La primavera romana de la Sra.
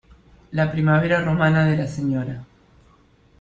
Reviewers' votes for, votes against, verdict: 2, 0, accepted